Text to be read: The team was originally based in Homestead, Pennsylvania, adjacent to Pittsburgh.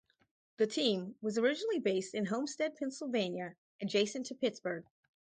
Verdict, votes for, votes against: rejected, 0, 2